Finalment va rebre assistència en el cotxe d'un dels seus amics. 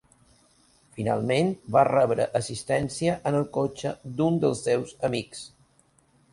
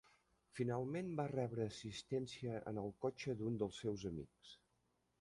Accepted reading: first